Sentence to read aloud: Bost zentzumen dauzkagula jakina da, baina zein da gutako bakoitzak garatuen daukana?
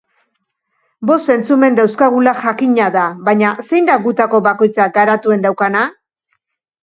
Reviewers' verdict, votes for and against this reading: accepted, 2, 0